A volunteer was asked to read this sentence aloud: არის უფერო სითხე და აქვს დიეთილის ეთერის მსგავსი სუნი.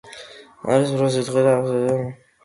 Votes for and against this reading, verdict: 0, 2, rejected